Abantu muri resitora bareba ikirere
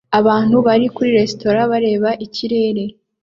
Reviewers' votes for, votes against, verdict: 1, 2, rejected